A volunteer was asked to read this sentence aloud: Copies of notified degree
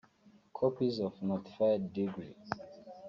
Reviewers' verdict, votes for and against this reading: rejected, 1, 2